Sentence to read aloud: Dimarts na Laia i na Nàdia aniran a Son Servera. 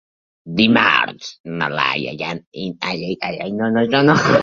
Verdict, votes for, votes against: rejected, 0, 2